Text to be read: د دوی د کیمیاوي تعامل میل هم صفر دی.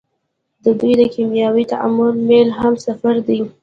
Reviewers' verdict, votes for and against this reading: accepted, 2, 0